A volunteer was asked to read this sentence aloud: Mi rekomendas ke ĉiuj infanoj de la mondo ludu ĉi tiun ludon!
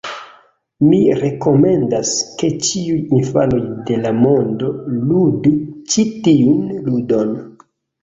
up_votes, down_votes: 1, 2